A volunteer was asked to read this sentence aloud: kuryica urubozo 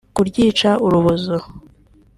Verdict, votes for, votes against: accepted, 2, 0